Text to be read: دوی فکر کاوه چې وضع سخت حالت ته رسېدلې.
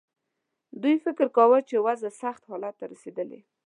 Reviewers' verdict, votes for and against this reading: accepted, 2, 0